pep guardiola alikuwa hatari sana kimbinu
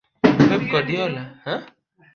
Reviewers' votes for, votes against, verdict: 1, 2, rejected